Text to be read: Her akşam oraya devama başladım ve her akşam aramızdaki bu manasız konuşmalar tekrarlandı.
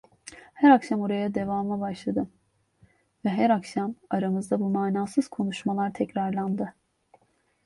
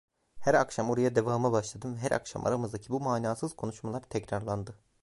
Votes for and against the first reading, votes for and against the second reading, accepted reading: 2, 0, 1, 2, first